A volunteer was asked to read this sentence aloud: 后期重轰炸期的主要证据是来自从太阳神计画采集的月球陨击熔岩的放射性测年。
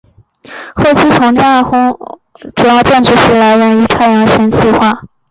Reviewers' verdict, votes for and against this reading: rejected, 1, 2